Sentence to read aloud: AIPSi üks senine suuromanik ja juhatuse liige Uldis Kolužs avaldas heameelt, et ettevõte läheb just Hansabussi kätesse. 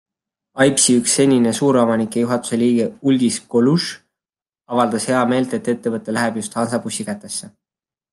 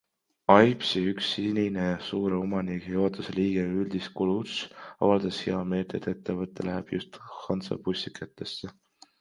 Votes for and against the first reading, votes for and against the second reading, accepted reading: 2, 0, 0, 2, first